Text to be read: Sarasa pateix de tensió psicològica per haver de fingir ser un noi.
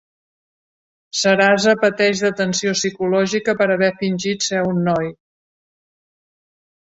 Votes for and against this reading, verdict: 1, 2, rejected